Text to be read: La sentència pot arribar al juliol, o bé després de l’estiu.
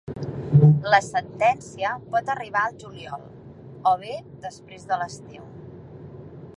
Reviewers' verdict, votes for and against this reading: accepted, 3, 0